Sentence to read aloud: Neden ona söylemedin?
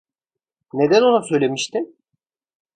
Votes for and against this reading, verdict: 0, 2, rejected